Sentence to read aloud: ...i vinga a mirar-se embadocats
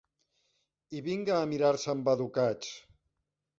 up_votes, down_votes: 2, 0